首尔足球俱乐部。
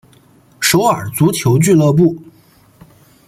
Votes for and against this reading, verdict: 2, 0, accepted